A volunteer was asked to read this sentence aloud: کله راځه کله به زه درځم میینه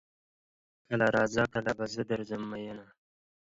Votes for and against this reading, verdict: 0, 2, rejected